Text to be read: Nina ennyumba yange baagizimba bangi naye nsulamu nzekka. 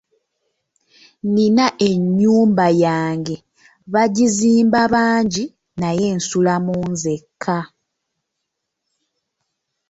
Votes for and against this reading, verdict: 0, 2, rejected